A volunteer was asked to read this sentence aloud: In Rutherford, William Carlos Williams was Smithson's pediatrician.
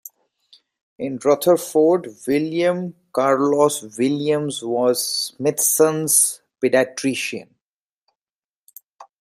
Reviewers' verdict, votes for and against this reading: rejected, 0, 2